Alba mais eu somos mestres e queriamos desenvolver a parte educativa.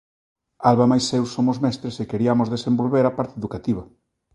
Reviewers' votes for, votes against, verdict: 1, 2, rejected